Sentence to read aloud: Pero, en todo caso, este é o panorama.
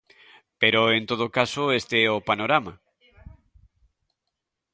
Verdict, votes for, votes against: accepted, 2, 0